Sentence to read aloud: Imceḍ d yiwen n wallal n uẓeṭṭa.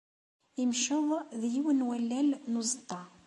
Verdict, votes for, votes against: accepted, 2, 0